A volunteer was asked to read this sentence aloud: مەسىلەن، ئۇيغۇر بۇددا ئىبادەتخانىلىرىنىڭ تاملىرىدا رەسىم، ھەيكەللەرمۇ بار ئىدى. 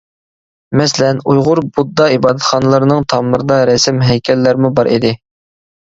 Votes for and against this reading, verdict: 2, 1, accepted